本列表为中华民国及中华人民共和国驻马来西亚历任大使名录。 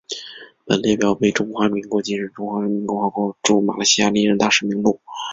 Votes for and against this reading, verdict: 2, 0, accepted